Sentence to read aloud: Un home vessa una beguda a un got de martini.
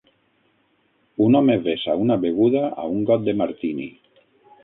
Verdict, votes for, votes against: accepted, 6, 0